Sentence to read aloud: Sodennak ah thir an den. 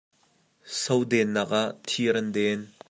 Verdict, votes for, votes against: accepted, 2, 0